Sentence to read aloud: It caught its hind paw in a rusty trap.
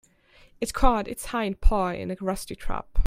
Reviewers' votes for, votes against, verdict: 2, 0, accepted